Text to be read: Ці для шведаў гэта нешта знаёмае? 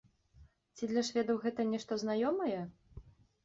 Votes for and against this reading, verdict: 2, 0, accepted